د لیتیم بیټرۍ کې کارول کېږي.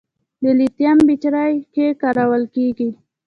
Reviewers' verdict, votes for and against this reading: accepted, 2, 0